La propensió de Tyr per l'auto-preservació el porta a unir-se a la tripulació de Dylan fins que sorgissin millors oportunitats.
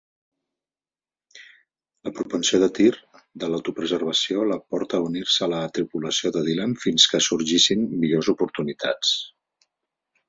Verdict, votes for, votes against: rejected, 1, 2